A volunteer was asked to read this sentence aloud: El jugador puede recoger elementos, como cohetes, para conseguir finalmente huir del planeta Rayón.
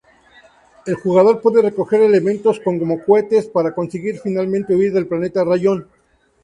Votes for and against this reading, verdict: 2, 0, accepted